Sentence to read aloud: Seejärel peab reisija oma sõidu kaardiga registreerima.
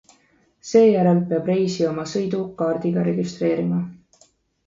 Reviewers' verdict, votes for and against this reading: accepted, 2, 0